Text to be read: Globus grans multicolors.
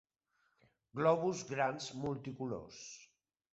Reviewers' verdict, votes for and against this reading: accepted, 3, 1